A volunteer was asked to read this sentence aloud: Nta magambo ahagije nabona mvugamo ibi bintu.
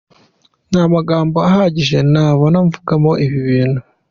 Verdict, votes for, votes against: accepted, 2, 0